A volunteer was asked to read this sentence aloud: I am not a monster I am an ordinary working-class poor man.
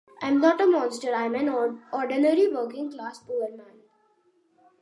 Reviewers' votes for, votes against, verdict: 2, 0, accepted